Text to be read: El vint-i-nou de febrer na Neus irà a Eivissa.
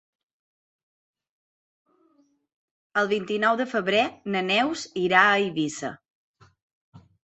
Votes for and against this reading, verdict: 2, 0, accepted